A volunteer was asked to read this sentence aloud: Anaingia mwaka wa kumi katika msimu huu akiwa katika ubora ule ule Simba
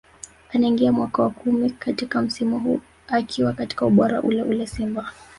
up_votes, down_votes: 0, 2